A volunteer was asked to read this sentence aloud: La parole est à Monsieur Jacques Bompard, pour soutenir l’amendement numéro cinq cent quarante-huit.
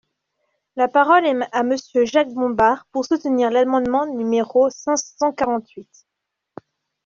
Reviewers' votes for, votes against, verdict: 1, 2, rejected